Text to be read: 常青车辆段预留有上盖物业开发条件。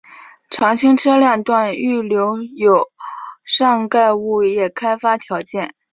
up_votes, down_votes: 2, 1